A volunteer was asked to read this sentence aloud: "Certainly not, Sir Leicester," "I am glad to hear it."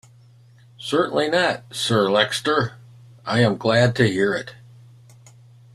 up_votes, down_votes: 2, 0